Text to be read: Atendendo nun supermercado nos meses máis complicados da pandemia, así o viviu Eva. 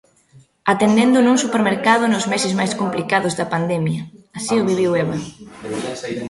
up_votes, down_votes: 2, 1